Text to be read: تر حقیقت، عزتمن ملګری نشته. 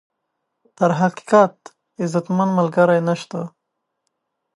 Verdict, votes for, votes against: accepted, 2, 0